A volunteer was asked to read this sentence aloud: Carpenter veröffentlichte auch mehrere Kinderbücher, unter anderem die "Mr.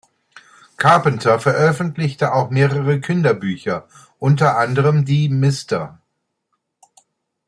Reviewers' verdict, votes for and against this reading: accepted, 2, 0